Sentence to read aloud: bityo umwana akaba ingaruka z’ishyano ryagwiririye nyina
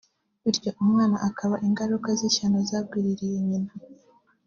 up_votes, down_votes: 1, 2